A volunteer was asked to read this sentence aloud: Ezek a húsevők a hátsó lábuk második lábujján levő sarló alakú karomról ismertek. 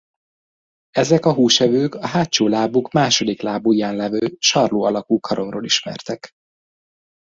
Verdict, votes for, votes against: accepted, 2, 0